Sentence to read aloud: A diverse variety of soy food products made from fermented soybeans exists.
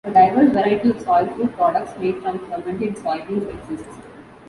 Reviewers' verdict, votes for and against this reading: rejected, 1, 2